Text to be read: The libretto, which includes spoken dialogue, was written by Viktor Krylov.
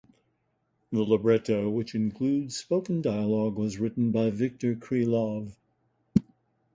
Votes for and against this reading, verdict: 2, 0, accepted